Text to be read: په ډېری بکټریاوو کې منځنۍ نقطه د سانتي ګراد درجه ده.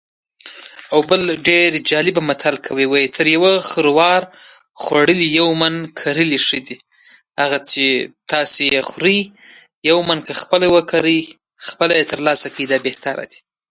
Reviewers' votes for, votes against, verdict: 1, 2, rejected